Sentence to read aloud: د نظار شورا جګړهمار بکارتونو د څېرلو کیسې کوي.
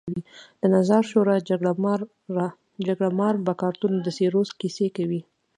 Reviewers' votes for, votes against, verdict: 2, 0, accepted